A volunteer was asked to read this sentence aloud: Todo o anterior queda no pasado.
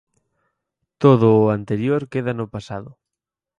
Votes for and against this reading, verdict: 4, 0, accepted